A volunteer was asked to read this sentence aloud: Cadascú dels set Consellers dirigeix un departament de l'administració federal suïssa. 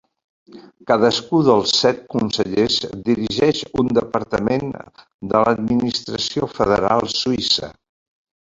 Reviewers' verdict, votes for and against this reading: accepted, 4, 2